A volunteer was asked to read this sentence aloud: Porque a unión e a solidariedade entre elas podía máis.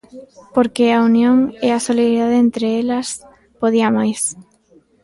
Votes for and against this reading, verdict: 2, 0, accepted